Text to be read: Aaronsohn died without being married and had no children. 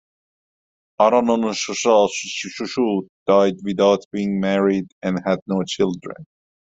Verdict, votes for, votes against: rejected, 1, 2